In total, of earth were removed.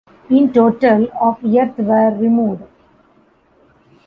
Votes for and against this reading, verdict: 2, 1, accepted